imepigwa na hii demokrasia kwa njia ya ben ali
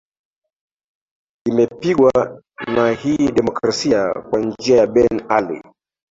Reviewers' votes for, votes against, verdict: 1, 2, rejected